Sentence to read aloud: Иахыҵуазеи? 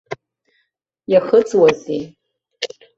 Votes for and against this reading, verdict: 2, 0, accepted